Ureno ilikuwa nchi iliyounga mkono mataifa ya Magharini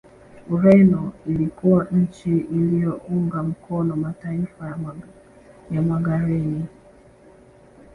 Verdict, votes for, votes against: accepted, 2, 0